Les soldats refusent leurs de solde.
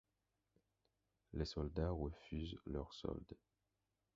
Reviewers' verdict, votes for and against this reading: rejected, 0, 4